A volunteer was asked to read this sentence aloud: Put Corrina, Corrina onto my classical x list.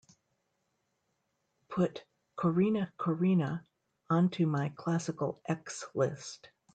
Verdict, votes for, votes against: accepted, 2, 0